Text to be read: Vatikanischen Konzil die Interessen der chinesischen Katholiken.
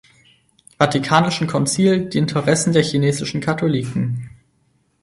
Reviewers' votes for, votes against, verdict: 4, 0, accepted